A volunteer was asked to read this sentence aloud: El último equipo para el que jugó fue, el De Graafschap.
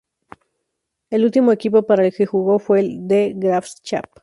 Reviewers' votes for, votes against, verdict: 2, 2, rejected